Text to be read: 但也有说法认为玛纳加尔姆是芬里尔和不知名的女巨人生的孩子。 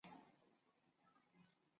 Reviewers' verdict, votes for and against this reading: rejected, 0, 2